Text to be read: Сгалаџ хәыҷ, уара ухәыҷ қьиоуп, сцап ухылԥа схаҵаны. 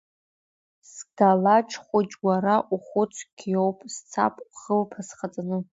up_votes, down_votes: 2, 0